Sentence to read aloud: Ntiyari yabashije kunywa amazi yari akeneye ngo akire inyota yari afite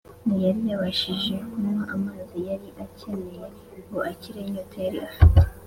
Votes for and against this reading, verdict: 4, 0, accepted